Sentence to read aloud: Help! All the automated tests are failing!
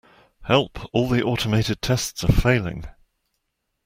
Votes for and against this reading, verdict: 2, 0, accepted